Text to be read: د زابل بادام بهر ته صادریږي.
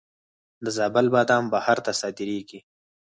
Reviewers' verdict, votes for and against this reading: accepted, 4, 2